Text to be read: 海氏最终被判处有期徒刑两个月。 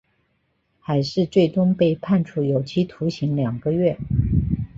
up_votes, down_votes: 4, 1